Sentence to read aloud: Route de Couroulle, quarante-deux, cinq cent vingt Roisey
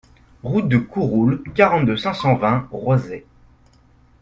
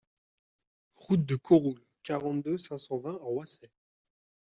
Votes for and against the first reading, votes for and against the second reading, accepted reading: 2, 0, 1, 2, first